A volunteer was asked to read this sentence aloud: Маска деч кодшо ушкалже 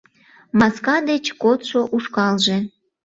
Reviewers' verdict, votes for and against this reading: accepted, 2, 0